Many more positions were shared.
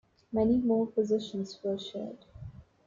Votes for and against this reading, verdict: 2, 1, accepted